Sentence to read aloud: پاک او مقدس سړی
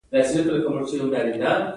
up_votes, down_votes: 2, 0